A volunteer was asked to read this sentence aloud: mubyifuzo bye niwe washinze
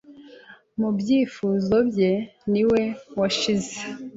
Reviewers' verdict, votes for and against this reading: rejected, 0, 2